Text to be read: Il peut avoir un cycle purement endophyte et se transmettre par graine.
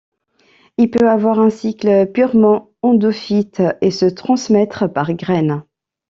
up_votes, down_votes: 2, 0